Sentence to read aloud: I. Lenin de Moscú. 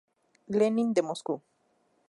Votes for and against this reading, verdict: 4, 0, accepted